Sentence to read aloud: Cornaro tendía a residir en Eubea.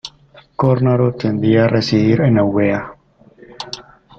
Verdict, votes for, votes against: rejected, 0, 2